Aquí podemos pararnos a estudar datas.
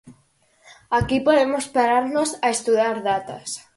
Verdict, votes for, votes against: accepted, 4, 0